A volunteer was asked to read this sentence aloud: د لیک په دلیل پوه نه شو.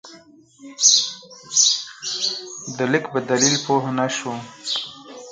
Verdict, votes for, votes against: rejected, 2, 4